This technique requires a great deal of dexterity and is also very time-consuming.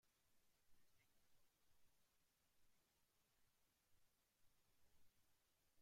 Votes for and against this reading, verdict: 0, 2, rejected